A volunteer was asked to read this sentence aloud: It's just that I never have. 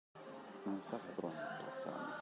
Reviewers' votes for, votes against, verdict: 0, 2, rejected